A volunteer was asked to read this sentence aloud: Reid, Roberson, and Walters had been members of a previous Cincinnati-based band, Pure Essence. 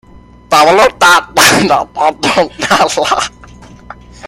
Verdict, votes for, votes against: rejected, 0, 2